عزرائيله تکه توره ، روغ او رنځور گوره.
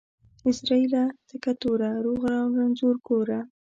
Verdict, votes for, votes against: accepted, 2, 0